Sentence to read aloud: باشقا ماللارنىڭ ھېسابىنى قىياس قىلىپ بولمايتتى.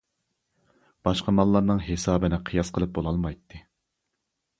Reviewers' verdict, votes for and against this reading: rejected, 0, 2